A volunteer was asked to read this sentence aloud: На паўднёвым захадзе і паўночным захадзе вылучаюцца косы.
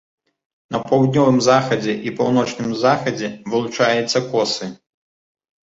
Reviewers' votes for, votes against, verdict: 2, 0, accepted